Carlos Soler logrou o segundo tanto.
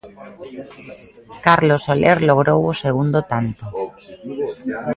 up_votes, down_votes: 2, 0